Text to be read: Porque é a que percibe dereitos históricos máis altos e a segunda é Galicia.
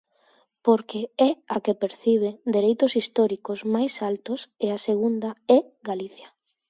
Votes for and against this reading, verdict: 1, 2, rejected